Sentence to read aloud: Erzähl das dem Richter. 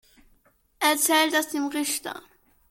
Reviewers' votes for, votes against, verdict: 2, 0, accepted